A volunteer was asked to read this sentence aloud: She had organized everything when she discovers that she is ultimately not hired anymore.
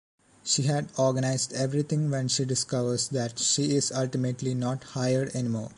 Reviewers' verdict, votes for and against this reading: accepted, 2, 0